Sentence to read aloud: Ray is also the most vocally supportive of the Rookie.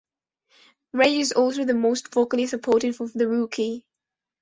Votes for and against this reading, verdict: 0, 2, rejected